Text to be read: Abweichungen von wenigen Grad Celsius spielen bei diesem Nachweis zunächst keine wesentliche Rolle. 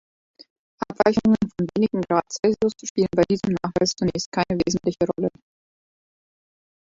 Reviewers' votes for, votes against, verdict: 1, 2, rejected